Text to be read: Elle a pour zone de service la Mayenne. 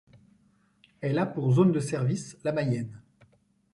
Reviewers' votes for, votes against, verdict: 0, 2, rejected